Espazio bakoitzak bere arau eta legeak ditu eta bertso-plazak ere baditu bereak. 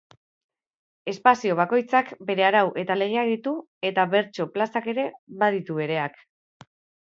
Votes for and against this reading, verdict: 3, 0, accepted